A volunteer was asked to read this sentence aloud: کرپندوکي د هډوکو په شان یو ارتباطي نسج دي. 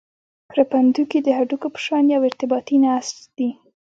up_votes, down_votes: 1, 2